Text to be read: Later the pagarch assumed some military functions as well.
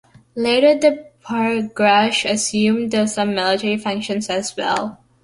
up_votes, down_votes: 1, 2